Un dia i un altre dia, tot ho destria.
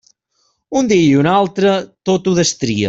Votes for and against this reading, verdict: 1, 2, rejected